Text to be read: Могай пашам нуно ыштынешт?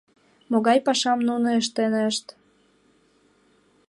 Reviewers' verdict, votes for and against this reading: accepted, 2, 1